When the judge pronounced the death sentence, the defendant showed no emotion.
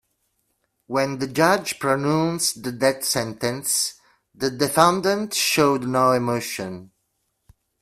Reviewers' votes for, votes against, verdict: 1, 2, rejected